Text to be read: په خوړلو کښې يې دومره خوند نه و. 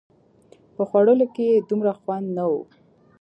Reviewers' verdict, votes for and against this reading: accepted, 3, 0